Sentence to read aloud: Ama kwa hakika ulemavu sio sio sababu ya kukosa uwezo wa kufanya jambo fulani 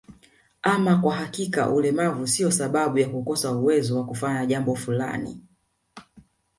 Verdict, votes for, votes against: rejected, 1, 2